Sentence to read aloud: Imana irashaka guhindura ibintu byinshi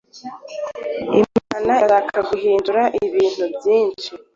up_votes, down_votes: 2, 0